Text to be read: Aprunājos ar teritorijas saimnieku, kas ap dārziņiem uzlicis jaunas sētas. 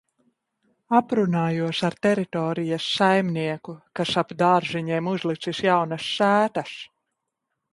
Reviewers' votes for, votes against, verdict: 0, 2, rejected